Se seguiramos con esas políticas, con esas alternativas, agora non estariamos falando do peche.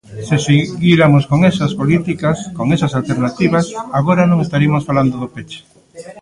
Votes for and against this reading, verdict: 0, 2, rejected